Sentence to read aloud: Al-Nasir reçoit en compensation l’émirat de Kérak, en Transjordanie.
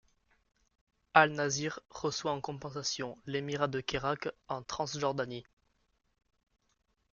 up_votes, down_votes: 2, 0